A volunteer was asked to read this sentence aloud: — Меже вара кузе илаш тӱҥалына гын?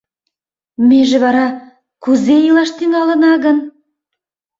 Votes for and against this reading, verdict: 2, 0, accepted